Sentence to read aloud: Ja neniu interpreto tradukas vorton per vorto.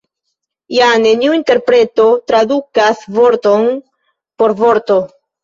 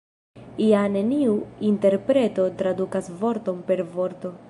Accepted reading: second